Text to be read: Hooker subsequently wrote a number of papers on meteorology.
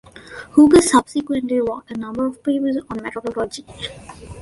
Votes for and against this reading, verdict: 0, 2, rejected